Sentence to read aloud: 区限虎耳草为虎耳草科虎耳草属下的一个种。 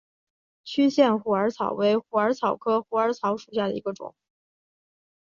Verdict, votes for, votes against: accepted, 3, 1